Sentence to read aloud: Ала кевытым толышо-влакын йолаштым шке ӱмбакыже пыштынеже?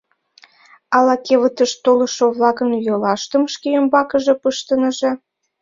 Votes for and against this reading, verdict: 0, 2, rejected